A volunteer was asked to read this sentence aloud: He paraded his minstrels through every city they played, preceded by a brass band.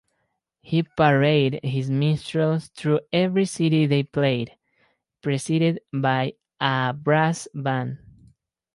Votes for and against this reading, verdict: 2, 2, rejected